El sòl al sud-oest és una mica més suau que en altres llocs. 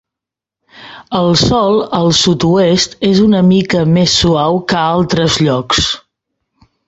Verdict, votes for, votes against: rejected, 0, 2